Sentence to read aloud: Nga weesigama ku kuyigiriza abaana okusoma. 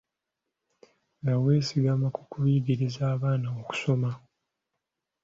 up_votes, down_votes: 2, 0